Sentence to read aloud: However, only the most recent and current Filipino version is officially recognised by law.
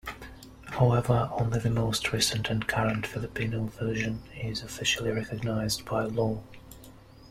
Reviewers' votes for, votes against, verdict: 1, 2, rejected